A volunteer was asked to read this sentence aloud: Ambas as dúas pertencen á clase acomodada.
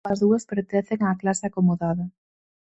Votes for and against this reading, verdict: 0, 4, rejected